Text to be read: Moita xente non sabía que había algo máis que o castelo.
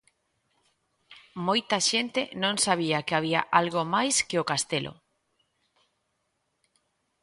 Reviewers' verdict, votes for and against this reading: accepted, 2, 0